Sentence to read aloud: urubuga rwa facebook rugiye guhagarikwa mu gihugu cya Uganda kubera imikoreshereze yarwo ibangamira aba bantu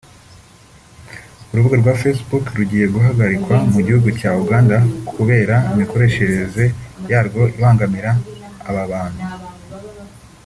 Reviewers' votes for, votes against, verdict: 2, 0, accepted